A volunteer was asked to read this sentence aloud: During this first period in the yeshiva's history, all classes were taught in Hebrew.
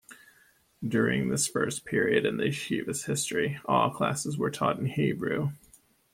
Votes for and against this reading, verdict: 1, 2, rejected